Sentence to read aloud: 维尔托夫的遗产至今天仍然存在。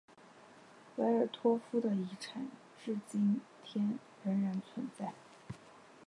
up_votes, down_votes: 5, 1